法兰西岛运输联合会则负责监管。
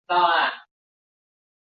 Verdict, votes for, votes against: rejected, 0, 2